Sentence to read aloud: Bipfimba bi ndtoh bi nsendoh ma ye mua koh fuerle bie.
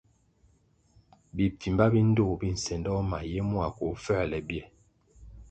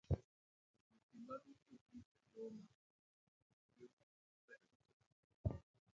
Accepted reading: first